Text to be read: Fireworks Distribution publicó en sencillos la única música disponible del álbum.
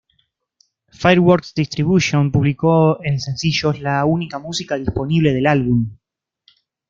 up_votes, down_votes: 2, 0